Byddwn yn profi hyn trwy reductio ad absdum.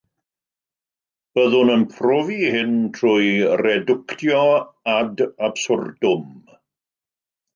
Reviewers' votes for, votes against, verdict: 0, 2, rejected